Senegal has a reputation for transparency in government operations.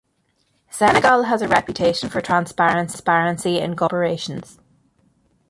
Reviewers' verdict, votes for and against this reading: rejected, 0, 2